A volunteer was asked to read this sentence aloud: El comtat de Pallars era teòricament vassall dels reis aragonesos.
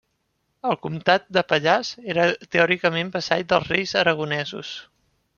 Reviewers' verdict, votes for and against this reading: rejected, 1, 2